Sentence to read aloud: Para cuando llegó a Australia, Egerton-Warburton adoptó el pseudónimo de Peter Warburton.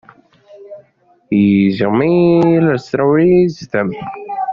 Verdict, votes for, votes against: rejected, 0, 2